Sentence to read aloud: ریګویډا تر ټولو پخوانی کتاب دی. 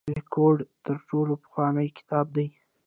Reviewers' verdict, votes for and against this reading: accepted, 2, 0